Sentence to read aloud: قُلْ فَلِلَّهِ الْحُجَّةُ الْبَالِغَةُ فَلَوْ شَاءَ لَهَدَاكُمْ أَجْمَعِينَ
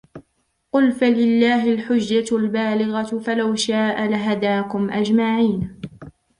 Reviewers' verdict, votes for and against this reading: accepted, 2, 0